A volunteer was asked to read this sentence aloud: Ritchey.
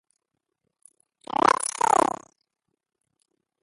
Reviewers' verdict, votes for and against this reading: rejected, 0, 3